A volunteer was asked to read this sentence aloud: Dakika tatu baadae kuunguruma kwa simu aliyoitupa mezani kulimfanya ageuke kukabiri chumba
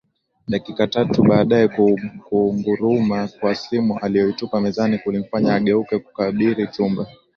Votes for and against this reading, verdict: 2, 0, accepted